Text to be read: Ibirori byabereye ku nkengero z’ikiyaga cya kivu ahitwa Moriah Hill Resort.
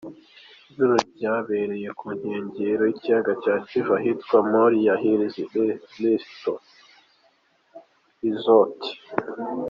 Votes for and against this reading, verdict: 0, 3, rejected